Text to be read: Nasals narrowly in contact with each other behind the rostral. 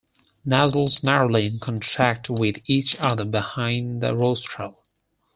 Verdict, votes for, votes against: rejected, 2, 4